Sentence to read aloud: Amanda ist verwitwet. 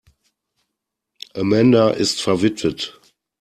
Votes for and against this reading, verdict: 2, 0, accepted